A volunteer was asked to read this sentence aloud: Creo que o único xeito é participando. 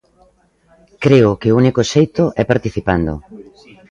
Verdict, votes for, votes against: rejected, 0, 2